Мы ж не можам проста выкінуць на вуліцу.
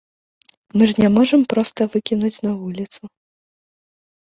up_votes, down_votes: 2, 0